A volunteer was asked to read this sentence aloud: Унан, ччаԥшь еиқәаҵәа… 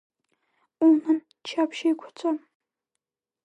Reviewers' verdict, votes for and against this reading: rejected, 1, 3